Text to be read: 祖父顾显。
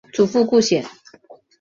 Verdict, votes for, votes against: accepted, 2, 0